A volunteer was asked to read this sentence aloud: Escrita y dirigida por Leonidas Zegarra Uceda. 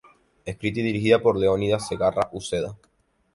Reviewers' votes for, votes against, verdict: 2, 0, accepted